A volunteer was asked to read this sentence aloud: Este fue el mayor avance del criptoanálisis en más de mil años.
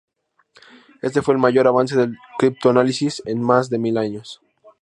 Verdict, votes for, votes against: accepted, 2, 0